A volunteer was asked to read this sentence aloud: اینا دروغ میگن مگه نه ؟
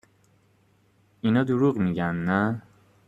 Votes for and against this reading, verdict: 0, 2, rejected